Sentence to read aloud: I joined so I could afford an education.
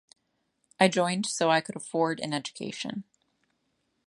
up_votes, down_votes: 2, 0